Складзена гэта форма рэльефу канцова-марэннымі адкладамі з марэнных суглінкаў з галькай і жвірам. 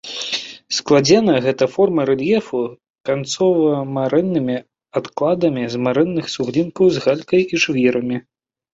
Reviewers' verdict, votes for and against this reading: rejected, 0, 2